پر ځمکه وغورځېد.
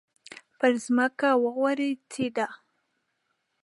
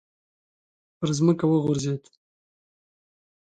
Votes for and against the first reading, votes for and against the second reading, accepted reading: 0, 2, 2, 0, second